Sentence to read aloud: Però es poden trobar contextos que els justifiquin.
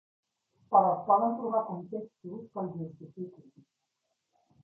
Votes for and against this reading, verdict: 3, 0, accepted